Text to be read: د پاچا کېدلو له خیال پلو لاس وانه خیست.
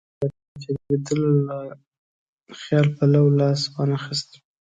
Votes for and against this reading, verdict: 2, 1, accepted